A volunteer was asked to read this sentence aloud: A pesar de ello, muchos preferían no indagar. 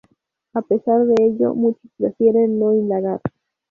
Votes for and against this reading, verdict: 0, 2, rejected